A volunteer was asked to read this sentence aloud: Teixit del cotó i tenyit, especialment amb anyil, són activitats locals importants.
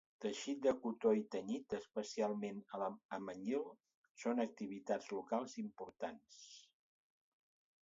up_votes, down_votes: 2, 2